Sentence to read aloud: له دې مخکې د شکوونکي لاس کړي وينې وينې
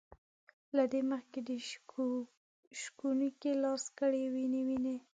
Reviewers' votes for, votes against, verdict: 0, 2, rejected